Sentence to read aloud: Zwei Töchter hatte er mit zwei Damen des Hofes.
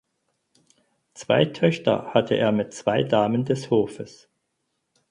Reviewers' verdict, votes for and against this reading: accepted, 4, 0